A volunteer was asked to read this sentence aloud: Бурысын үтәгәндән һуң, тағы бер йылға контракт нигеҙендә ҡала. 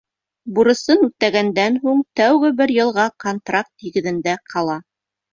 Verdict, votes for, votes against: rejected, 1, 2